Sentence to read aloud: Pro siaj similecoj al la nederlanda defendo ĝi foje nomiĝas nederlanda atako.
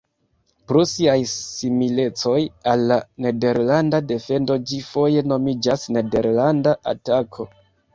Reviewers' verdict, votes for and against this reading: rejected, 1, 2